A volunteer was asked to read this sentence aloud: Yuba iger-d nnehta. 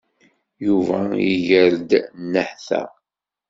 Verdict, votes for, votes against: accepted, 2, 0